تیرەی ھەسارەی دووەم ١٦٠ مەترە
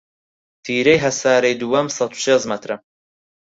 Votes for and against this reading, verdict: 0, 2, rejected